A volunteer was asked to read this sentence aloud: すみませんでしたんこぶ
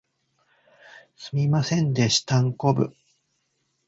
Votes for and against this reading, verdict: 2, 0, accepted